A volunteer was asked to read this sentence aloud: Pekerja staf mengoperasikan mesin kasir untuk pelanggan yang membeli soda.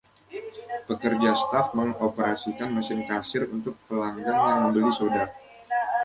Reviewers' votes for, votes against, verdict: 1, 2, rejected